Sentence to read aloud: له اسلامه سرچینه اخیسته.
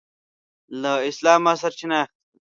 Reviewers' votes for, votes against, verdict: 0, 2, rejected